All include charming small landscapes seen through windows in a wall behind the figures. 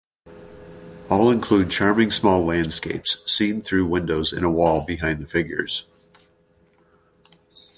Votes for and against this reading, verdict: 2, 0, accepted